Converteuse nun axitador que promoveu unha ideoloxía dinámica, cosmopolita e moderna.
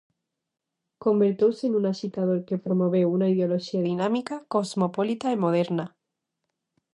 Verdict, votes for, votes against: rejected, 0, 2